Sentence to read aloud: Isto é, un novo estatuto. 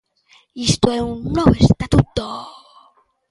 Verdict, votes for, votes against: rejected, 1, 2